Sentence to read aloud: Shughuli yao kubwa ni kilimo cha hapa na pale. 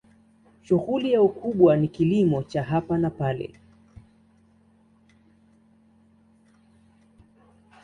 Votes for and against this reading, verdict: 2, 0, accepted